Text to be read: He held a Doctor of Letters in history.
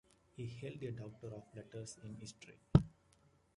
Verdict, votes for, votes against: accepted, 2, 1